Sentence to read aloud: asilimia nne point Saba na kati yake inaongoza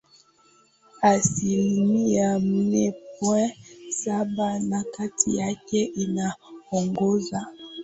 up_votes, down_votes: 4, 0